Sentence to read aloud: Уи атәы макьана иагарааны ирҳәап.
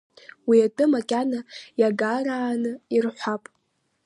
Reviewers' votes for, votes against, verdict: 2, 0, accepted